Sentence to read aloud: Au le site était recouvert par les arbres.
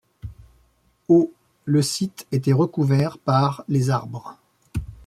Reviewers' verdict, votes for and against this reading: accepted, 2, 0